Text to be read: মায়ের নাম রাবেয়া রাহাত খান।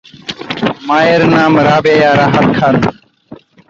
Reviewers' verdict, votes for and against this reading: rejected, 0, 2